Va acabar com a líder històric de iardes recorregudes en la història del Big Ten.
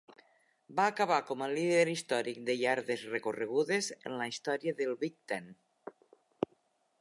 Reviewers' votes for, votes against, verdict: 2, 0, accepted